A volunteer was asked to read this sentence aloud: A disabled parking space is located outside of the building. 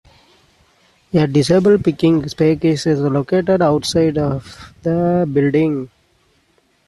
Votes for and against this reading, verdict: 0, 2, rejected